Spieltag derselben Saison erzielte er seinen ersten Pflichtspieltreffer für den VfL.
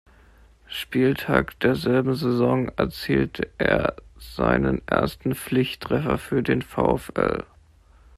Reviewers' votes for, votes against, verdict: 1, 2, rejected